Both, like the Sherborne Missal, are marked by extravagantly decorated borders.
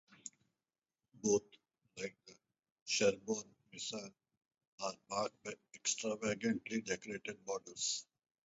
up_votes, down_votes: 2, 2